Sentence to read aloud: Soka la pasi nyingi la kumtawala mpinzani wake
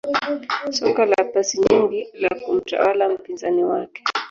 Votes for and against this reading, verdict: 1, 3, rejected